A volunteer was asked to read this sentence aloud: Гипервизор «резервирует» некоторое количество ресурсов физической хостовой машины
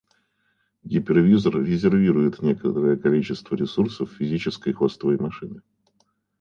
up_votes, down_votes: 2, 0